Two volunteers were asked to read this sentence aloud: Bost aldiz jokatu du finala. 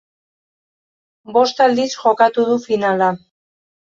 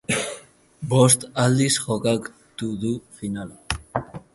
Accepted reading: first